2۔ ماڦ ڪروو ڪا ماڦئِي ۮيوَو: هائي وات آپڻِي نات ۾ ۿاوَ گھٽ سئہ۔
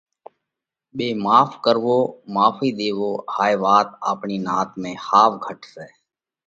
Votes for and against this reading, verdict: 0, 2, rejected